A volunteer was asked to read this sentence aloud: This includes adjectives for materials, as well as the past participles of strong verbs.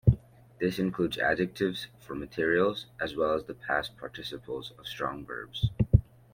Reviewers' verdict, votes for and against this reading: accepted, 2, 0